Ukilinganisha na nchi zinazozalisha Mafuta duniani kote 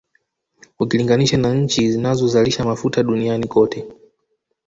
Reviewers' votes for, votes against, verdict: 2, 0, accepted